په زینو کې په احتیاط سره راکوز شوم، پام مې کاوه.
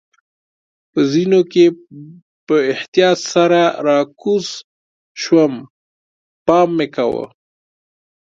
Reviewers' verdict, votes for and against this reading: rejected, 2, 3